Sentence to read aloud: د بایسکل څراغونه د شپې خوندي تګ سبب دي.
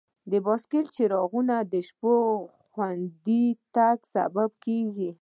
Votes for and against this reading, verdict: 2, 0, accepted